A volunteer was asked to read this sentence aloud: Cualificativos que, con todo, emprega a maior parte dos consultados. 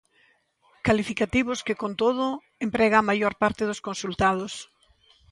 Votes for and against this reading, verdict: 0, 2, rejected